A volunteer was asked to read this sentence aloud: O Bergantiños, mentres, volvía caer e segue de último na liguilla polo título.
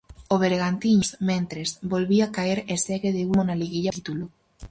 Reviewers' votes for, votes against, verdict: 0, 4, rejected